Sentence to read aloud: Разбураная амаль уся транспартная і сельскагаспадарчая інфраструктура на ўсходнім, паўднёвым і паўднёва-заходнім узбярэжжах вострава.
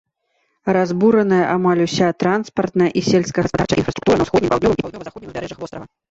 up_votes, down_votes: 0, 2